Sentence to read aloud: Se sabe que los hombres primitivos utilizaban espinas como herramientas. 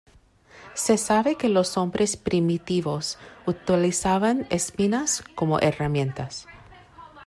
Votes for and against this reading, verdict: 1, 2, rejected